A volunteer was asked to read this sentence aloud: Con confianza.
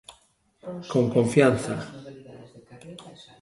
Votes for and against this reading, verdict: 1, 2, rejected